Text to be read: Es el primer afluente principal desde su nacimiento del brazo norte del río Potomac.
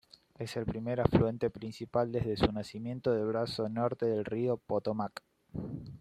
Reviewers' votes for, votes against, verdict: 2, 1, accepted